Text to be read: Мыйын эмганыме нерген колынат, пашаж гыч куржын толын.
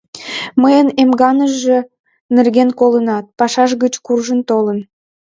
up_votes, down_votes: 2, 1